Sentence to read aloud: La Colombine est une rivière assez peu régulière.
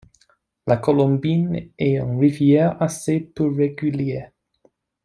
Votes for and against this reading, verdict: 1, 2, rejected